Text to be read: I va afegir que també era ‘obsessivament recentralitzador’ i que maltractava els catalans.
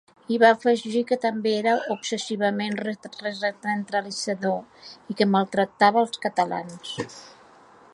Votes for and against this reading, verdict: 0, 2, rejected